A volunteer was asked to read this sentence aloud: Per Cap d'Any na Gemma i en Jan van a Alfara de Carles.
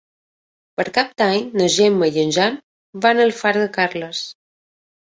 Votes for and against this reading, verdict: 2, 0, accepted